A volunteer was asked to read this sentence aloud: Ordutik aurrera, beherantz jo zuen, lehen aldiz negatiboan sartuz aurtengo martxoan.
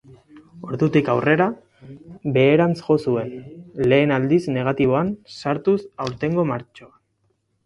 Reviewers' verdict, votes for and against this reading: accepted, 10, 2